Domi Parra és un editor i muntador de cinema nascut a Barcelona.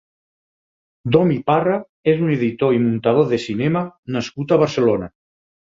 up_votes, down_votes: 6, 0